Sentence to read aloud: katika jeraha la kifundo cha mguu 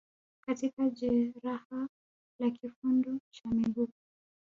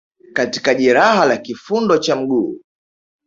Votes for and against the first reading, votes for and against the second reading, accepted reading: 1, 3, 2, 1, second